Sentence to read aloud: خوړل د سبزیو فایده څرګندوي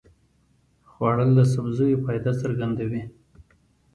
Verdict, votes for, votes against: accepted, 2, 0